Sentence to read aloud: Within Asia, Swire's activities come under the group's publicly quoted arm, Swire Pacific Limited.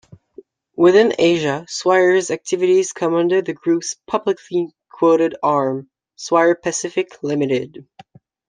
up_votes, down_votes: 2, 0